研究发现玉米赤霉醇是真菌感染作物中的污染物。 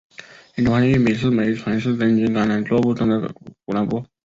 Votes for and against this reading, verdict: 1, 2, rejected